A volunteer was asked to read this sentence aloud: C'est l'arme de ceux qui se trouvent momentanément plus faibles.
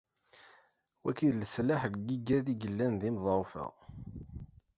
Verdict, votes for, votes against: rejected, 0, 2